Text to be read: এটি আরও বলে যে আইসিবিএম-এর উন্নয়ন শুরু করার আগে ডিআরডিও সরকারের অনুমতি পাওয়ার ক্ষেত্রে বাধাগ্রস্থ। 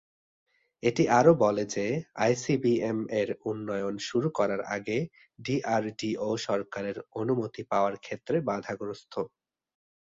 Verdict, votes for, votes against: accepted, 2, 0